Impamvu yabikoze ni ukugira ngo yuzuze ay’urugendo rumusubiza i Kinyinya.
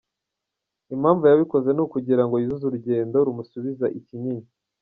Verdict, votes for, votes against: rejected, 1, 2